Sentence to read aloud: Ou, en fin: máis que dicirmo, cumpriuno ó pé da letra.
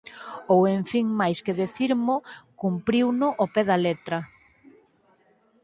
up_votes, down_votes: 2, 4